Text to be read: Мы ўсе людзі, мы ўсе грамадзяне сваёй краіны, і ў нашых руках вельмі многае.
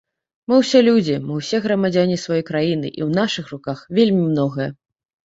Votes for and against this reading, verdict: 2, 0, accepted